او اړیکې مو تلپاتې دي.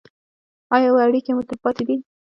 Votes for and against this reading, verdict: 1, 2, rejected